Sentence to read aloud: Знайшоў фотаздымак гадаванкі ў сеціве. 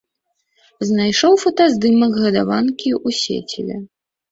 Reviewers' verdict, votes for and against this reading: accepted, 2, 0